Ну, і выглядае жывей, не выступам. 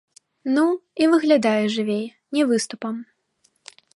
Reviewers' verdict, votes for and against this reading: accepted, 2, 0